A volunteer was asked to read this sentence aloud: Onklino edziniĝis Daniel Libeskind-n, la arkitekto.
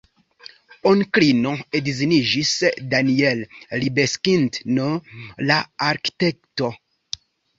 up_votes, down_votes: 2, 0